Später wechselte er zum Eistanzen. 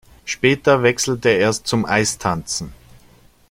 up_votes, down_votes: 1, 2